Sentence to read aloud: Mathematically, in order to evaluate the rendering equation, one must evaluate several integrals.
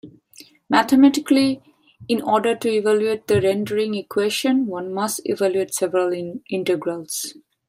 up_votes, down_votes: 1, 2